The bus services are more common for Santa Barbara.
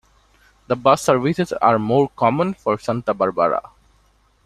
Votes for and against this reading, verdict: 2, 0, accepted